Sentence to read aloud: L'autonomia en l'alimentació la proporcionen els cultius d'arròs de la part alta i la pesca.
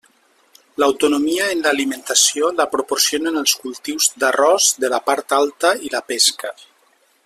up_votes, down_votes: 3, 0